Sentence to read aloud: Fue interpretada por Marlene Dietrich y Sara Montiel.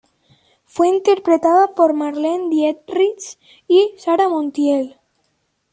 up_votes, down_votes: 2, 0